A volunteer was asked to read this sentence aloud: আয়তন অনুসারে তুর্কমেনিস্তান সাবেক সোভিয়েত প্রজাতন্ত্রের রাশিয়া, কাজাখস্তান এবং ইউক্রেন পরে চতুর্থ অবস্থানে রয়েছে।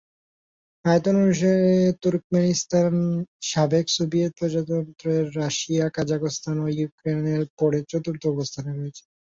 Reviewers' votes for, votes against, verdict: 0, 2, rejected